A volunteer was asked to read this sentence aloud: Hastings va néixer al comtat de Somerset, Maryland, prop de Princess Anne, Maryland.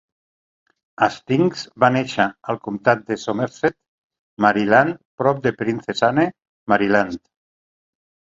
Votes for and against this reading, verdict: 2, 0, accepted